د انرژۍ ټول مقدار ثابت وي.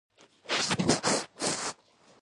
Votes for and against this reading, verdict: 0, 2, rejected